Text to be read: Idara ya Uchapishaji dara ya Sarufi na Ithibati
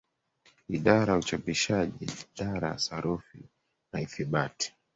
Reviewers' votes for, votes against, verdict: 0, 2, rejected